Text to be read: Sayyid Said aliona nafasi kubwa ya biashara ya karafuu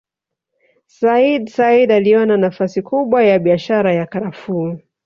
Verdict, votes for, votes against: rejected, 1, 2